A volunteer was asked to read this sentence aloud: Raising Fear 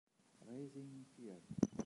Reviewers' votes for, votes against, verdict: 2, 3, rejected